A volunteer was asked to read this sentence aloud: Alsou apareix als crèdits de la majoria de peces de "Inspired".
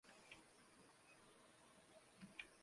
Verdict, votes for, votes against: rejected, 0, 2